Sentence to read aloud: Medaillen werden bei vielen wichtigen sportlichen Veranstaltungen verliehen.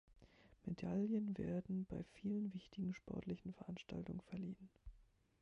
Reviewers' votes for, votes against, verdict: 0, 3, rejected